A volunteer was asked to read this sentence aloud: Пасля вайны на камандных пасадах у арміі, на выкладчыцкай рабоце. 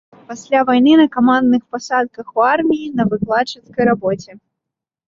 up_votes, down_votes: 2, 0